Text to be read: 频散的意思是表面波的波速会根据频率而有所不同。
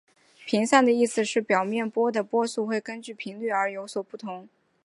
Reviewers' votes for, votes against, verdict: 3, 1, accepted